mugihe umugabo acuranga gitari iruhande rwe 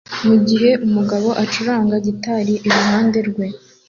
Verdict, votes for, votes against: accepted, 2, 0